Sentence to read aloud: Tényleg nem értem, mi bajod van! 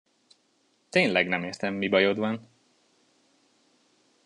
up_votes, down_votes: 2, 0